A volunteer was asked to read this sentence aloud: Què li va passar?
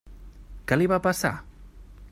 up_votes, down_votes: 3, 0